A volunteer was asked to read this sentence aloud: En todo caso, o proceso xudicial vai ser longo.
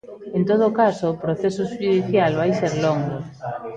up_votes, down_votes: 1, 2